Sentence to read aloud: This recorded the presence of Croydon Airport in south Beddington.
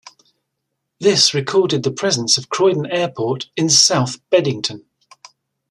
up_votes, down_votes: 2, 0